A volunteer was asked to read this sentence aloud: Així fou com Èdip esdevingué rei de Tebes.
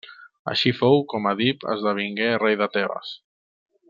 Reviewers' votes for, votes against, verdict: 2, 0, accepted